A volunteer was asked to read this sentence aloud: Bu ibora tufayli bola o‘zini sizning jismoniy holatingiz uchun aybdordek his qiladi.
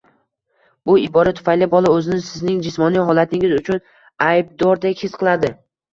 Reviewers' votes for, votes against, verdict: 1, 2, rejected